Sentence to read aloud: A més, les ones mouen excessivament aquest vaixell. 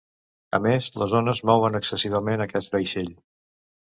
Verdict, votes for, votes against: accepted, 2, 0